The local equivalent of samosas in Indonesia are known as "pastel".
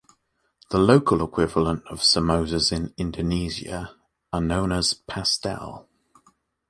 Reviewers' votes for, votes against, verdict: 2, 0, accepted